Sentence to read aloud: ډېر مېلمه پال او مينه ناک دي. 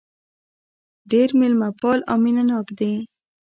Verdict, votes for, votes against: accepted, 2, 0